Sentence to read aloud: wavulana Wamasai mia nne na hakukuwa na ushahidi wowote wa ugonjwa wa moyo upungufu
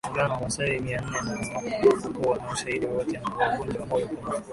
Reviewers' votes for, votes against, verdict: 0, 2, rejected